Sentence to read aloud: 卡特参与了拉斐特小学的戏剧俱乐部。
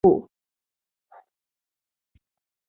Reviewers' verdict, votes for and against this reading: rejected, 0, 2